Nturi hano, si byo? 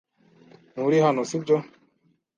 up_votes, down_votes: 2, 0